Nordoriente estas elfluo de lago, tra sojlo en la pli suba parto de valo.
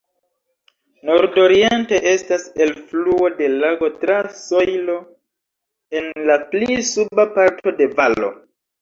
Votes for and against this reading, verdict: 2, 0, accepted